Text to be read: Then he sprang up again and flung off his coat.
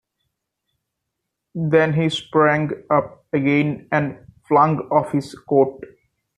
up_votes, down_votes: 2, 0